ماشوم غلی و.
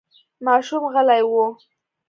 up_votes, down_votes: 2, 0